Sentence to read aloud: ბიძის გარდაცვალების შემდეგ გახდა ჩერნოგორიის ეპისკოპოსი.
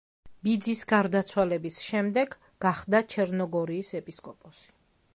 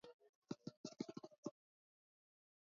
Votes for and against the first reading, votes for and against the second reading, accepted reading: 2, 0, 1, 2, first